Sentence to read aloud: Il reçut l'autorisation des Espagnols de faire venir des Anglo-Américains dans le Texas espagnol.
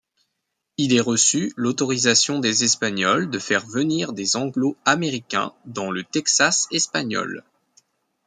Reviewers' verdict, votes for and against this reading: rejected, 0, 2